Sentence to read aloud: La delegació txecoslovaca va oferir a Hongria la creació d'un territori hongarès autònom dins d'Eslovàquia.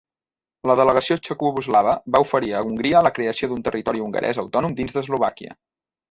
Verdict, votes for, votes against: rejected, 0, 2